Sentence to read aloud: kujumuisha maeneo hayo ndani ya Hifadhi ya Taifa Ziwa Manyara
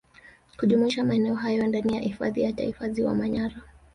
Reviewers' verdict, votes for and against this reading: accepted, 2, 1